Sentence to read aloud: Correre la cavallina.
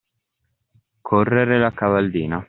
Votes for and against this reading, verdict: 2, 0, accepted